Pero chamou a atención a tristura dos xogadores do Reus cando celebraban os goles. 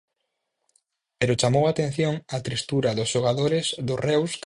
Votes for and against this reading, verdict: 0, 4, rejected